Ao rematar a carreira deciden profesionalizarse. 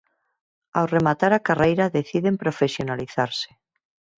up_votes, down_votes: 4, 0